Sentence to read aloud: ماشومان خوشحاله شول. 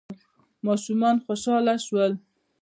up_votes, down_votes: 0, 2